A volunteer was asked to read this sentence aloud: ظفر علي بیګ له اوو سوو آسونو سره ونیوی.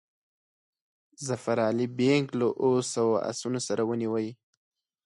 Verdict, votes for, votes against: accepted, 4, 0